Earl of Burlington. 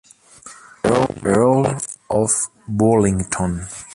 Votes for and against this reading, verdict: 0, 2, rejected